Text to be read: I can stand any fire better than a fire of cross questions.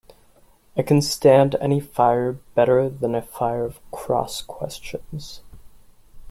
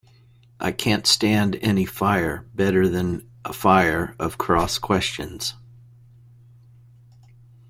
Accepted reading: first